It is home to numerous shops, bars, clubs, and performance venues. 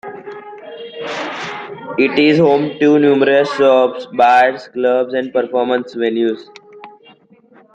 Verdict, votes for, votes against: accepted, 2, 0